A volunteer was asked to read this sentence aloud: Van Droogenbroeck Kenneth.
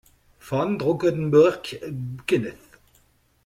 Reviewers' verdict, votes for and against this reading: rejected, 1, 2